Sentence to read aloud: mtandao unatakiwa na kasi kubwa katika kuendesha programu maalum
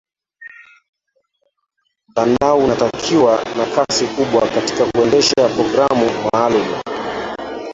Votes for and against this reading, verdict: 1, 2, rejected